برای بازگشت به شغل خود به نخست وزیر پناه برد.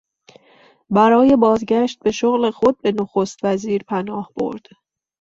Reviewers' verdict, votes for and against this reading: accepted, 2, 0